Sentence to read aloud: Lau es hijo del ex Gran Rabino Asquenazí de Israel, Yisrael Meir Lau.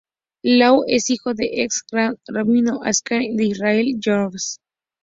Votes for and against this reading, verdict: 0, 2, rejected